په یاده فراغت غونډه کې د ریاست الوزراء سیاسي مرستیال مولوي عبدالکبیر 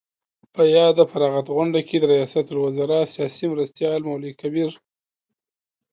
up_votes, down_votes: 2, 0